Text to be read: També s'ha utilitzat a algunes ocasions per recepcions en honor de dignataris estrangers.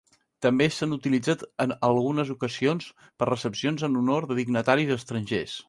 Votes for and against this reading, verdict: 0, 2, rejected